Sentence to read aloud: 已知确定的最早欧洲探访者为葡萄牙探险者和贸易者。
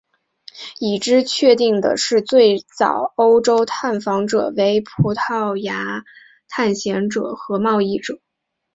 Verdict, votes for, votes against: accepted, 2, 0